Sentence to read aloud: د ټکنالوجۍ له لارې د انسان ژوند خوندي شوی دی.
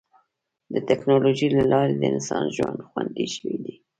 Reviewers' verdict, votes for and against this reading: accepted, 2, 0